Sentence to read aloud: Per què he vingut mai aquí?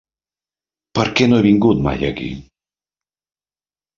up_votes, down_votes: 0, 2